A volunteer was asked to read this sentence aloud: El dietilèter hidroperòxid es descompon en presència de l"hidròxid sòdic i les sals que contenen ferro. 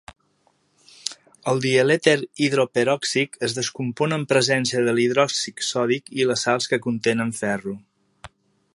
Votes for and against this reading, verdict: 1, 2, rejected